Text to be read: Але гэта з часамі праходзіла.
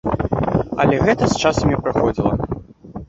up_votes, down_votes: 0, 2